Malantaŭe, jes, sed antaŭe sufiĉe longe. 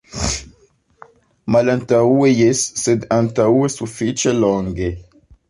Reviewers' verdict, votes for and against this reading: accepted, 2, 0